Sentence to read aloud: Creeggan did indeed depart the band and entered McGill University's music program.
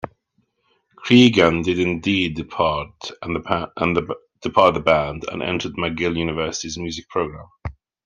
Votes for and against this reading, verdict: 0, 2, rejected